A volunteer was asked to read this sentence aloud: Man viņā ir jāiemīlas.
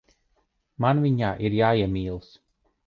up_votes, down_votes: 2, 0